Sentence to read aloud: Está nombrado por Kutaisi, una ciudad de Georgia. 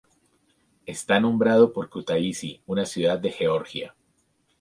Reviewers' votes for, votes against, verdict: 2, 2, rejected